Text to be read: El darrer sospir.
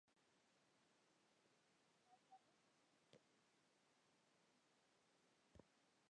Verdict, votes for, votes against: rejected, 1, 2